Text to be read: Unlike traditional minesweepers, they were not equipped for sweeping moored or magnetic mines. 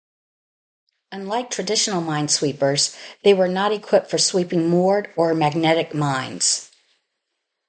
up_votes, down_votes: 2, 2